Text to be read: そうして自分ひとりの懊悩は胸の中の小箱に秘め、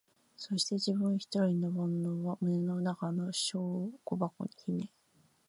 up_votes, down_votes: 0, 2